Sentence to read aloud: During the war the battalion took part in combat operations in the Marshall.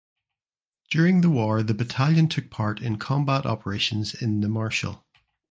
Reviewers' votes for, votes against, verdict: 2, 0, accepted